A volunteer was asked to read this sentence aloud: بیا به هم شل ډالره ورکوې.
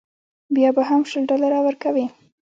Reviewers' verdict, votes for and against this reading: accepted, 2, 0